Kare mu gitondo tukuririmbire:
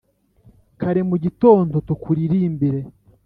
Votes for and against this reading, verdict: 2, 0, accepted